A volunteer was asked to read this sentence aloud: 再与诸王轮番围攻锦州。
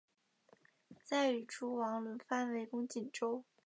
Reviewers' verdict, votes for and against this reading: rejected, 1, 2